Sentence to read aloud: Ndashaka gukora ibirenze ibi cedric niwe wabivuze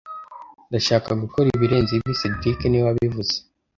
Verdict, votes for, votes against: accepted, 2, 0